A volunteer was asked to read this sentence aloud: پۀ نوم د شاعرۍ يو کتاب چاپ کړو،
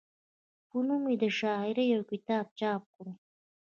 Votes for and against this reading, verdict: 2, 0, accepted